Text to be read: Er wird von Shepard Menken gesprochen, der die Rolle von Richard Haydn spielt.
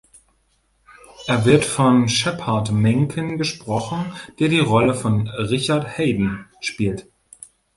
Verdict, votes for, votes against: rejected, 1, 2